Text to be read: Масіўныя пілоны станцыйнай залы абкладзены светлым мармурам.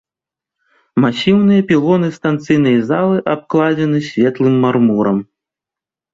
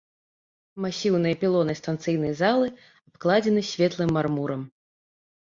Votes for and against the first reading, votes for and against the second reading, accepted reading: 2, 0, 1, 2, first